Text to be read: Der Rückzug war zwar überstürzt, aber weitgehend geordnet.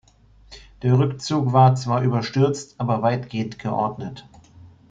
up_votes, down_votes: 2, 0